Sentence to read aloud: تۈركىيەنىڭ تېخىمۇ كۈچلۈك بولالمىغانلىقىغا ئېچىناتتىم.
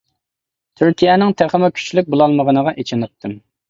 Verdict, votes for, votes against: rejected, 0, 2